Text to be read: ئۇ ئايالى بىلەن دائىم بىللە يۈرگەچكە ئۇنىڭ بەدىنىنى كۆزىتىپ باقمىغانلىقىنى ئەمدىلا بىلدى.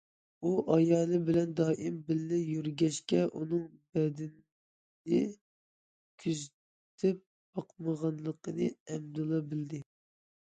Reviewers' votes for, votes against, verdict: 0, 2, rejected